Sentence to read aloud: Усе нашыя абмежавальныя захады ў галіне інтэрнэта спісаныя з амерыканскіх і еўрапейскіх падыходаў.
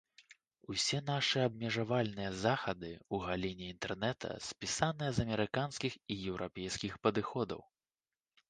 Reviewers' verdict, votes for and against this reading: rejected, 1, 2